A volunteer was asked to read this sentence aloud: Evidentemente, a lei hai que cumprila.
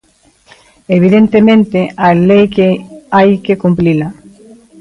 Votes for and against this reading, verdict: 0, 2, rejected